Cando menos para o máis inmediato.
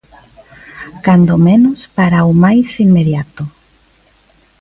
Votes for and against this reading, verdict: 2, 0, accepted